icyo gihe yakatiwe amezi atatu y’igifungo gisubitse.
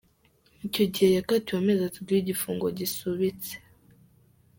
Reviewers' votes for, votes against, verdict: 2, 0, accepted